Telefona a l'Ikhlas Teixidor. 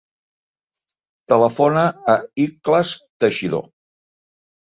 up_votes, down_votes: 2, 0